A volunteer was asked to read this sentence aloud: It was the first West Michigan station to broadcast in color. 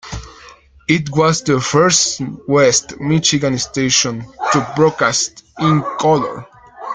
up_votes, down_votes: 1, 2